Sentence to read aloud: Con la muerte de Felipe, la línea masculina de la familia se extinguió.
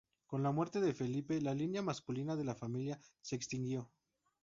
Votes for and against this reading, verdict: 2, 2, rejected